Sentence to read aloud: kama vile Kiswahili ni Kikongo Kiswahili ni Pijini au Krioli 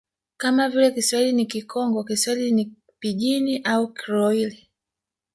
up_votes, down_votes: 1, 2